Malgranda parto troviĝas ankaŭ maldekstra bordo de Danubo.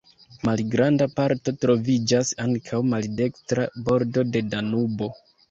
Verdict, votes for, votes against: accepted, 2, 1